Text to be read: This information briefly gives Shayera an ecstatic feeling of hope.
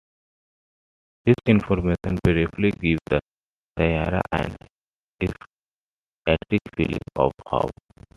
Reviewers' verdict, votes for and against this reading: rejected, 0, 2